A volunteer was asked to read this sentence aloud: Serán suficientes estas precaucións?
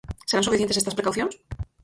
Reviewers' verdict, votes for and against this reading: rejected, 2, 4